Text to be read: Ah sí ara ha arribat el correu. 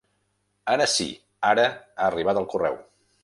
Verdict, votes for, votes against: rejected, 1, 2